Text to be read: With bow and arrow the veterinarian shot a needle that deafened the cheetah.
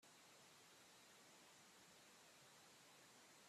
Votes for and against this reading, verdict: 0, 2, rejected